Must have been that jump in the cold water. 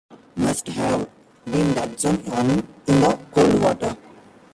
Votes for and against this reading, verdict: 1, 4, rejected